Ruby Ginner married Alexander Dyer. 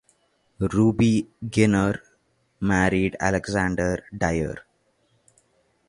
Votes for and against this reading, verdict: 3, 0, accepted